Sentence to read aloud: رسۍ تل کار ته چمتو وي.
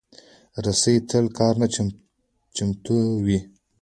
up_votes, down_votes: 2, 0